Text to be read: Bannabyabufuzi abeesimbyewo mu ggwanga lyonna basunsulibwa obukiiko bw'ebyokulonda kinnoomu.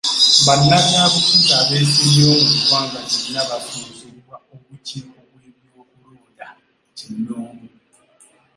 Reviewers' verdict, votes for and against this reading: rejected, 1, 2